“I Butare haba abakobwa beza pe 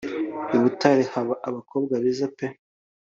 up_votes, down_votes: 2, 0